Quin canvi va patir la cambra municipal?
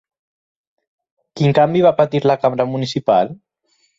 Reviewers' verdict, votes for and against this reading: accepted, 6, 0